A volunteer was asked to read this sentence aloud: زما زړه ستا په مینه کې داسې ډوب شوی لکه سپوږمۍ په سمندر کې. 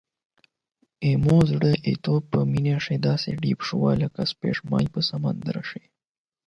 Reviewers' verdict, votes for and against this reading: rejected, 0, 8